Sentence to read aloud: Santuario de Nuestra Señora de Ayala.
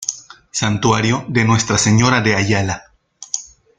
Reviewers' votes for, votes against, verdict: 2, 0, accepted